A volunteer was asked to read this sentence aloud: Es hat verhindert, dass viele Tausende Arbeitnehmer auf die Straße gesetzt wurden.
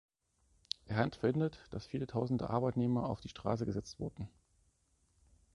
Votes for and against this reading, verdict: 1, 2, rejected